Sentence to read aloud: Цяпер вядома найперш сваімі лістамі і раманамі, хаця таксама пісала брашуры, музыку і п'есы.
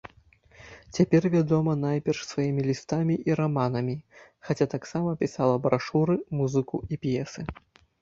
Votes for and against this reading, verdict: 0, 2, rejected